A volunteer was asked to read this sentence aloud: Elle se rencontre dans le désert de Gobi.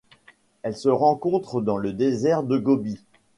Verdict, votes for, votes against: accepted, 2, 0